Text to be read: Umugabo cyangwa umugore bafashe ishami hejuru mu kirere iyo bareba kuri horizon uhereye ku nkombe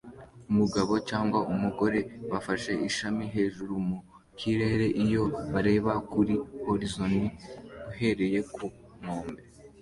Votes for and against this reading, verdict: 2, 0, accepted